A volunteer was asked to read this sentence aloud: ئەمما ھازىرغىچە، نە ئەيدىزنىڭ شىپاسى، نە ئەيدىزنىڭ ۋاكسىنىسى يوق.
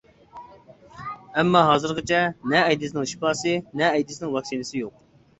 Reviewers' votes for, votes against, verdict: 2, 0, accepted